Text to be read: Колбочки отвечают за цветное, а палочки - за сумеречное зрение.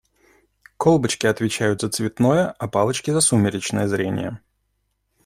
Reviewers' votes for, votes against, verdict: 2, 0, accepted